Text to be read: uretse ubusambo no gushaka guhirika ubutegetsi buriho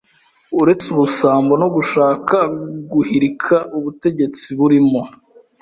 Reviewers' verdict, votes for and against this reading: rejected, 1, 2